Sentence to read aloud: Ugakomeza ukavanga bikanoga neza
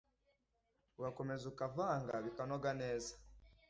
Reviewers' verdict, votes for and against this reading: accepted, 2, 0